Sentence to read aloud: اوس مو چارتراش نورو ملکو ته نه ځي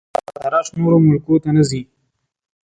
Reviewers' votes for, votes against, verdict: 0, 2, rejected